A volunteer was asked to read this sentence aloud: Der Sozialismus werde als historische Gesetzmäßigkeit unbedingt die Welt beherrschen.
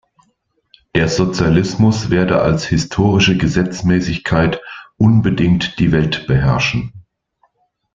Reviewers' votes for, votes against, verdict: 2, 0, accepted